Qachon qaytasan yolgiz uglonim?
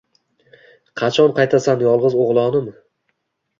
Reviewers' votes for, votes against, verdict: 2, 0, accepted